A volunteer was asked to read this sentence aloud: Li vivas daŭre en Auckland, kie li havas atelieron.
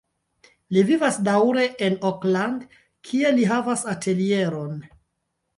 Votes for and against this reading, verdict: 0, 2, rejected